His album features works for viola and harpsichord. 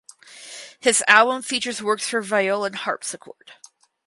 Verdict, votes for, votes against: accepted, 4, 0